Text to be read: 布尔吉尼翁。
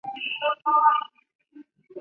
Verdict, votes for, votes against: rejected, 0, 4